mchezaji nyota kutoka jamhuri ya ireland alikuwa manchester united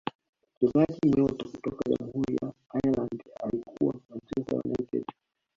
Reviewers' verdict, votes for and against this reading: rejected, 1, 2